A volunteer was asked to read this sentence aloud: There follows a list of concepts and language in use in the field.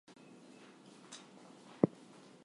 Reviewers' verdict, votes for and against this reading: rejected, 0, 4